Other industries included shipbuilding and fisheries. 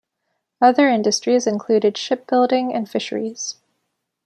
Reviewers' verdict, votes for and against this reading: accepted, 2, 0